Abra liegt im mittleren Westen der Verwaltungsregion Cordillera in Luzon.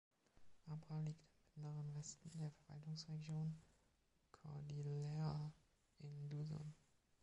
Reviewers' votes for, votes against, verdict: 0, 2, rejected